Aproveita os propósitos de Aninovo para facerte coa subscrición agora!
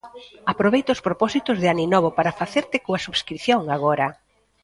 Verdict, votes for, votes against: rejected, 1, 2